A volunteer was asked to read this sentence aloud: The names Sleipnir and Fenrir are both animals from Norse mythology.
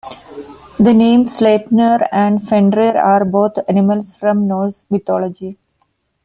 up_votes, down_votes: 2, 0